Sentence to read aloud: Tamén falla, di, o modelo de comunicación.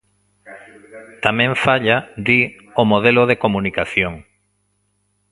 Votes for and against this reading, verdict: 2, 0, accepted